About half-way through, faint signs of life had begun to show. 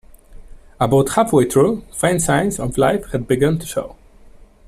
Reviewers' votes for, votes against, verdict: 2, 0, accepted